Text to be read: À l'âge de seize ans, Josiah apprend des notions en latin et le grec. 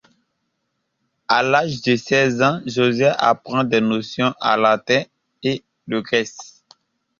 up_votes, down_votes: 0, 2